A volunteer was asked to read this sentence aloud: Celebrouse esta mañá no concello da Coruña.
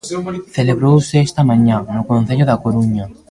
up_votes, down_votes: 0, 2